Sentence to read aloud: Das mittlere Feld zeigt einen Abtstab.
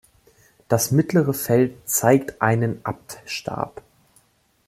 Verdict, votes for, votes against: accepted, 2, 0